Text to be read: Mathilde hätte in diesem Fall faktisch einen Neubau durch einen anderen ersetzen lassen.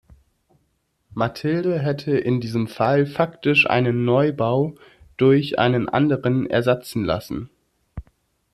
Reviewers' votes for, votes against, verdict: 1, 2, rejected